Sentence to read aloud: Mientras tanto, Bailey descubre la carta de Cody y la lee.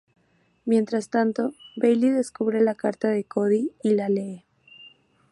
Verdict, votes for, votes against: accepted, 2, 0